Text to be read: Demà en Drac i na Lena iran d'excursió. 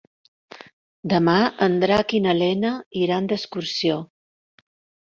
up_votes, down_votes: 4, 0